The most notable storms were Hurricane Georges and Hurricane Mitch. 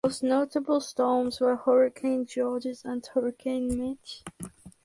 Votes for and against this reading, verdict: 2, 4, rejected